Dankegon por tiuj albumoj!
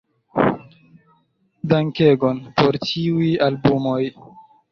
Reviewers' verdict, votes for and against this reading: accepted, 2, 1